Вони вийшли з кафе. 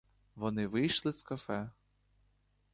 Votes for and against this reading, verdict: 2, 0, accepted